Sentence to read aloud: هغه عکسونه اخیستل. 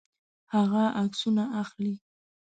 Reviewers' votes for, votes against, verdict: 1, 2, rejected